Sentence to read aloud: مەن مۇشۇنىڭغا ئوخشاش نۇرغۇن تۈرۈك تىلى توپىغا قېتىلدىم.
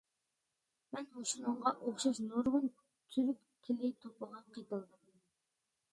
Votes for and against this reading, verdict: 2, 1, accepted